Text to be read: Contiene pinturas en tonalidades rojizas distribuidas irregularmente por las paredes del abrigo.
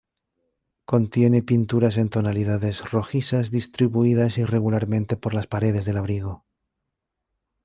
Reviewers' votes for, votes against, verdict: 2, 0, accepted